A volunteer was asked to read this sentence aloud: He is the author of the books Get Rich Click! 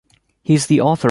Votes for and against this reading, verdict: 0, 2, rejected